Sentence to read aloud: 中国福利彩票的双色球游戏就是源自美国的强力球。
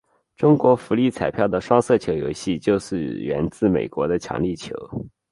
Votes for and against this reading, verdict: 9, 0, accepted